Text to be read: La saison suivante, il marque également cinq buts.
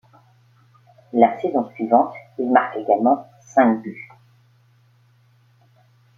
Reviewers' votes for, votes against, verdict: 2, 0, accepted